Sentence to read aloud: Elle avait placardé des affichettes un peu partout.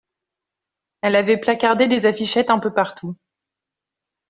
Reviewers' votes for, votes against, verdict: 2, 0, accepted